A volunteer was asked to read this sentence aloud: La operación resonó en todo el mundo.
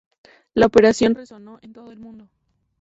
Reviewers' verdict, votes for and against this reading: accepted, 2, 0